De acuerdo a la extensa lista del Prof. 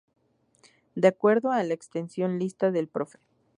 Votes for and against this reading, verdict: 0, 2, rejected